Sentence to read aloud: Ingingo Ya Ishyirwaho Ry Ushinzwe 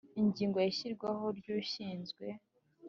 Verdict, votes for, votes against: accepted, 2, 1